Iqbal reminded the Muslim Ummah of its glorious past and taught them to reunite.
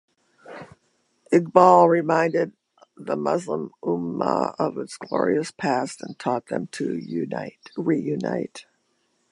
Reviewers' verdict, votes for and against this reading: rejected, 0, 2